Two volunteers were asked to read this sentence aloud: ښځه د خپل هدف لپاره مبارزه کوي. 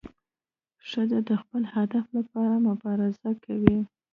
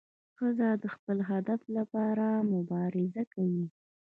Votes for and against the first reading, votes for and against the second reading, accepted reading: 0, 2, 2, 0, second